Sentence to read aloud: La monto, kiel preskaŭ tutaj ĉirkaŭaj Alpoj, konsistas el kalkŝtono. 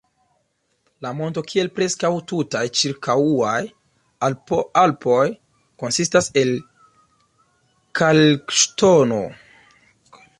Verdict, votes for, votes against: rejected, 0, 2